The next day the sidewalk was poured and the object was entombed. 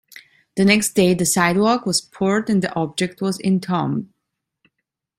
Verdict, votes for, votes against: accepted, 2, 0